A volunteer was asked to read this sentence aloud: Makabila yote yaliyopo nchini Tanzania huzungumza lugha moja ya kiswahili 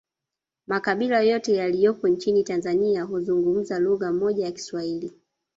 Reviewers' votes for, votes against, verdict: 1, 2, rejected